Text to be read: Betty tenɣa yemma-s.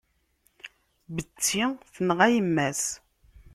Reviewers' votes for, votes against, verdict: 1, 2, rejected